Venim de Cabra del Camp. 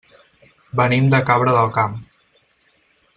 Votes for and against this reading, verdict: 14, 0, accepted